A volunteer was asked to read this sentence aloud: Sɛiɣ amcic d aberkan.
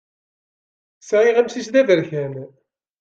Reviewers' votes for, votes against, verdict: 2, 0, accepted